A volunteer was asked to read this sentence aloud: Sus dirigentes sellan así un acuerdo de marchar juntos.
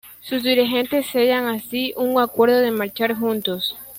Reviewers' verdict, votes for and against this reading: accepted, 2, 0